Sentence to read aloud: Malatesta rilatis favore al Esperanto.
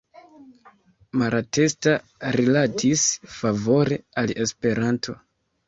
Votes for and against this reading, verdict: 0, 2, rejected